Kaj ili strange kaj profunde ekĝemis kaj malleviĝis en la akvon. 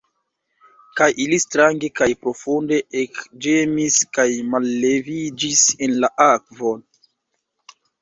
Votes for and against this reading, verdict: 1, 2, rejected